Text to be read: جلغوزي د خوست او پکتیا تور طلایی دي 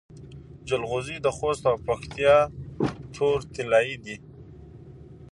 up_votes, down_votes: 2, 1